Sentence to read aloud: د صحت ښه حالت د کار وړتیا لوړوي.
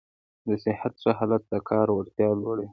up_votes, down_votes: 2, 0